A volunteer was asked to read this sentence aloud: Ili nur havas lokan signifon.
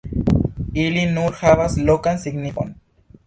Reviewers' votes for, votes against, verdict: 2, 0, accepted